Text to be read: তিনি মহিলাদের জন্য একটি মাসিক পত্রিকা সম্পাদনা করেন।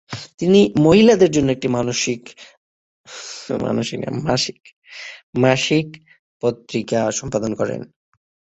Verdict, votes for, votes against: rejected, 0, 9